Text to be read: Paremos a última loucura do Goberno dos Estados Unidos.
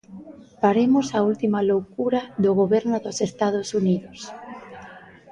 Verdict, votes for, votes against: accepted, 2, 0